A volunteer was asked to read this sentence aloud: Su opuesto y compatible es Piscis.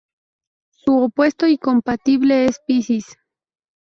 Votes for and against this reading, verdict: 0, 2, rejected